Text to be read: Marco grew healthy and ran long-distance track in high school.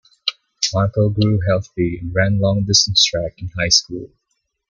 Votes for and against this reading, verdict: 2, 0, accepted